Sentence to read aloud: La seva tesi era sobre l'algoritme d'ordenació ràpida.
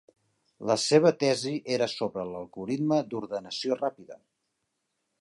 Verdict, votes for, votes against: accepted, 2, 0